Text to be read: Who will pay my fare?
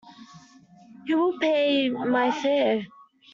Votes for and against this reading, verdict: 2, 0, accepted